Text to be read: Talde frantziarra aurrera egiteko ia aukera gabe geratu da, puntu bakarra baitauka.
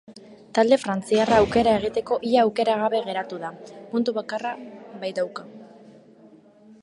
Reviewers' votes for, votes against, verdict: 0, 2, rejected